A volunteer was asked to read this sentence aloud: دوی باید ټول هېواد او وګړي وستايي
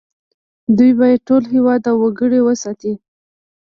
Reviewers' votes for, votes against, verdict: 2, 1, accepted